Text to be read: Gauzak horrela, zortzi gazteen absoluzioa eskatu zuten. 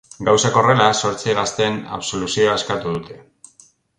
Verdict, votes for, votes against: rejected, 0, 3